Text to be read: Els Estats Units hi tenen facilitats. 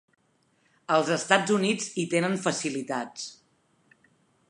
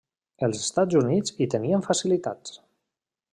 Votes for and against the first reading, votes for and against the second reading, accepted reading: 3, 0, 0, 2, first